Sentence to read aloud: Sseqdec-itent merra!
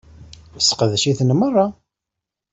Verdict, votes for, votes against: rejected, 1, 2